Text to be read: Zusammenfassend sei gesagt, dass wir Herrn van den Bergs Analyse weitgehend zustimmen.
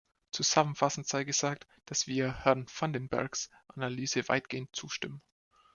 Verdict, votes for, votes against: accepted, 2, 0